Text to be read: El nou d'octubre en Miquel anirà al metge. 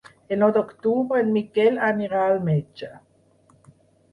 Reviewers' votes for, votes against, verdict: 6, 2, accepted